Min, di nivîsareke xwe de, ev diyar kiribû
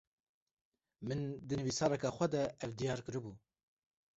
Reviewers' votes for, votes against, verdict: 0, 2, rejected